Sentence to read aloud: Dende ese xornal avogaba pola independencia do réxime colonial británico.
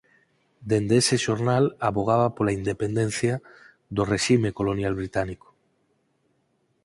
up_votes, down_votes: 0, 4